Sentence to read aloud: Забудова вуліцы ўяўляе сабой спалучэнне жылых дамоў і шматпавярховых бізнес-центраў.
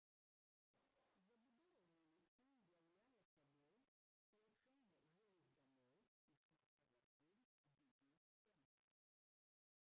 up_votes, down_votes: 0, 2